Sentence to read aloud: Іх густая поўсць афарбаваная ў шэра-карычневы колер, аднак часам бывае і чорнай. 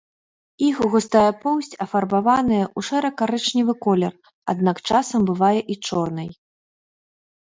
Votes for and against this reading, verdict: 2, 1, accepted